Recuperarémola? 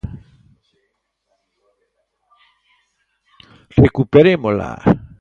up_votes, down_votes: 0, 2